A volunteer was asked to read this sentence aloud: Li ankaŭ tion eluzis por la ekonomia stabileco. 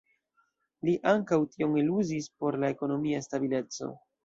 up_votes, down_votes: 0, 2